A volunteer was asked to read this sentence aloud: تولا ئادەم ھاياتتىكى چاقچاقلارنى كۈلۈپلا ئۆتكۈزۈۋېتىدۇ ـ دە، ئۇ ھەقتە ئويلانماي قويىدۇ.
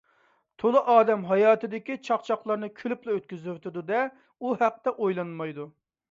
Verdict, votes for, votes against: rejected, 0, 2